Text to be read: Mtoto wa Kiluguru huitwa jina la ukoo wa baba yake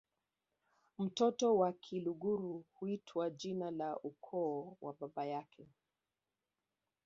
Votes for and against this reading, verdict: 0, 2, rejected